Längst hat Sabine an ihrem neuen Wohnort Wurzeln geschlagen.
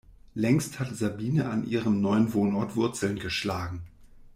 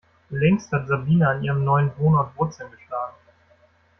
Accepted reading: second